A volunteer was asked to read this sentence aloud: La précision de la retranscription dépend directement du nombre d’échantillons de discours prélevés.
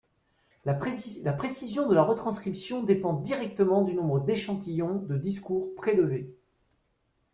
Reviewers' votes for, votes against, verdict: 0, 2, rejected